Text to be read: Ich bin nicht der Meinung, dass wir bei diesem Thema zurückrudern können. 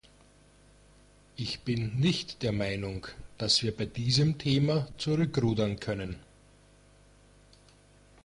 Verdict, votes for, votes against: accepted, 2, 0